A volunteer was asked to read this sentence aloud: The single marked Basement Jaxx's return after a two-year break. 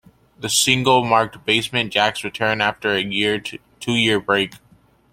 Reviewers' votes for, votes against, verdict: 1, 2, rejected